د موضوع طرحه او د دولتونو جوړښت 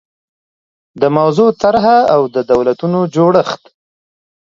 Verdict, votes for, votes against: accepted, 3, 0